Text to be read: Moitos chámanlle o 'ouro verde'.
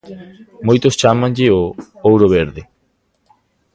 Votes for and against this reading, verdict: 2, 1, accepted